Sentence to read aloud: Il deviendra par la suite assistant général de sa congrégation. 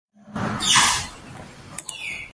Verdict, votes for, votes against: rejected, 0, 2